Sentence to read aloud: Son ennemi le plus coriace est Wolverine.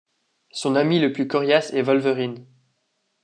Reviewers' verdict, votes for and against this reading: rejected, 0, 2